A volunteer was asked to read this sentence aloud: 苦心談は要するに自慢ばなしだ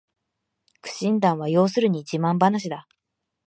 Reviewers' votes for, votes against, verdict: 2, 0, accepted